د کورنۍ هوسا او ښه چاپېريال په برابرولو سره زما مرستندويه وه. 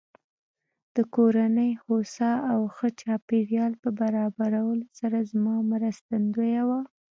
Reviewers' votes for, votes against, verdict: 1, 2, rejected